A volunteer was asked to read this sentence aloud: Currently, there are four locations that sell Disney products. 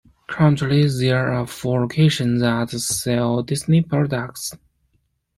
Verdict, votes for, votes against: accepted, 2, 0